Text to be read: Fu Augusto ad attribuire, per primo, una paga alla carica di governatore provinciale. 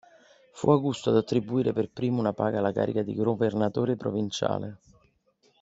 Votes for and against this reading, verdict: 1, 2, rejected